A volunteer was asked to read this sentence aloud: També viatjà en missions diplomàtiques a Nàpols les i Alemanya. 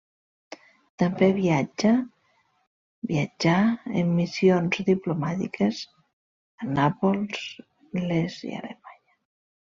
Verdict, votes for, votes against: rejected, 0, 2